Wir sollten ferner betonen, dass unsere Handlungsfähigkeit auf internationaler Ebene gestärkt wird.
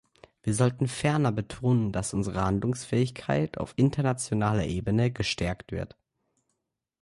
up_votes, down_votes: 2, 0